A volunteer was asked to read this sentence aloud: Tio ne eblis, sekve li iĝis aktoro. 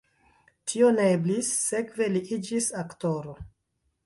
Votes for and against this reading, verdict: 2, 1, accepted